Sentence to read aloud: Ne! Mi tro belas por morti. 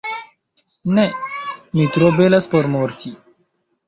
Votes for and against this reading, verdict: 0, 2, rejected